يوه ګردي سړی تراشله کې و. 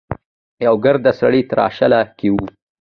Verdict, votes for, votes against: accepted, 2, 1